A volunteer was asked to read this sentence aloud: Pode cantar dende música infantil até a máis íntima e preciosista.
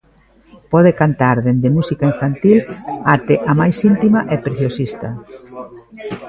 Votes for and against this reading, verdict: 2, 1, accepted